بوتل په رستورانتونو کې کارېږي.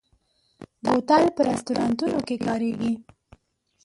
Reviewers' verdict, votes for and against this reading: accepted, 5, 2